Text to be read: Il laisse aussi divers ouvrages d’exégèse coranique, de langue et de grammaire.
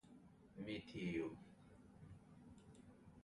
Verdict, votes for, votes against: rejected, 0, 2